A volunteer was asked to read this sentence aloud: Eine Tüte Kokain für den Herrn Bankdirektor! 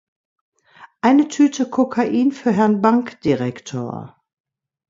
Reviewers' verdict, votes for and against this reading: rejected, 0, 2